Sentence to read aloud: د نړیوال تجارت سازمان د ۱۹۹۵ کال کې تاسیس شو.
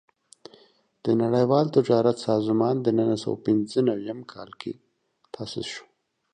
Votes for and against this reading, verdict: 0, 2, rejected